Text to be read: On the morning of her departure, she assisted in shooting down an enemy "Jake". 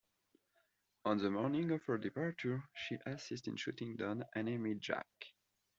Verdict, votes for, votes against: rejected, 0, 2